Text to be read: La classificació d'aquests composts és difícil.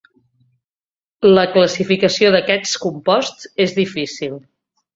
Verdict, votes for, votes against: accepted, 2, 0